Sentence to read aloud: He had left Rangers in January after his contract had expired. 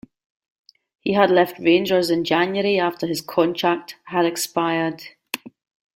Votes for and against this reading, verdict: 2, 0, accepted